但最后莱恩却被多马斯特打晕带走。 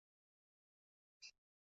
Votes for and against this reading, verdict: 0, 2, rejected